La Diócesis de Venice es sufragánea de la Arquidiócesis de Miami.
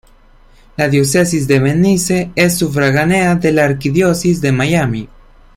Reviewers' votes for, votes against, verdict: 1, 2, rejected